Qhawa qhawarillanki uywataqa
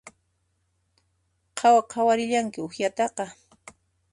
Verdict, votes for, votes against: accepted, 2, 1